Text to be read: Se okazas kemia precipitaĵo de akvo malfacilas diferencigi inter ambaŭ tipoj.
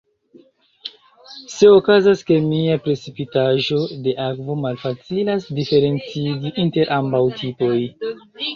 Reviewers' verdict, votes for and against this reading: rejected, 1, 2